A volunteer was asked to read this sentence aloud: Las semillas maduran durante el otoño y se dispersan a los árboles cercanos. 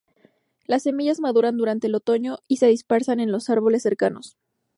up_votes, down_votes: 0, 2